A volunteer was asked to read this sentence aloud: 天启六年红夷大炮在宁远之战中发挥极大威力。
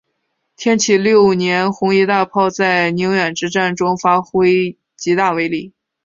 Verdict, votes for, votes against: accepted, 2, 0